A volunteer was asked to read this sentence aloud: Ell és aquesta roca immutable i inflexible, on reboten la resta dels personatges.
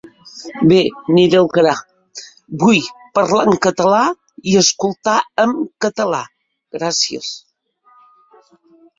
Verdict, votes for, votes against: rejected, 0, 2